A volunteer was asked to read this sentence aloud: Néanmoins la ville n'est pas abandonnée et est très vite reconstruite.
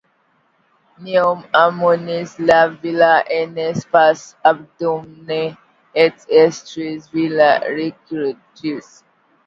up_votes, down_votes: 1, 2